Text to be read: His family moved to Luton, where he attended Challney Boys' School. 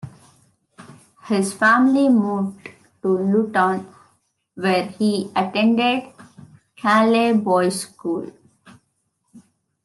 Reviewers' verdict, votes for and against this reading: rejected, 0, 2